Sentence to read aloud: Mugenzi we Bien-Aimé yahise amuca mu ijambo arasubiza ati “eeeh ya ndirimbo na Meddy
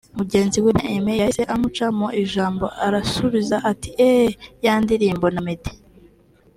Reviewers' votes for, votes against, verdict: 3, 0, accepted